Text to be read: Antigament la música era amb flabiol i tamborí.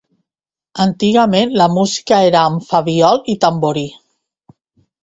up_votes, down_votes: 1, 2